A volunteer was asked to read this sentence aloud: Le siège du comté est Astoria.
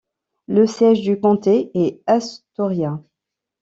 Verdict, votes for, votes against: rejected, 1, 2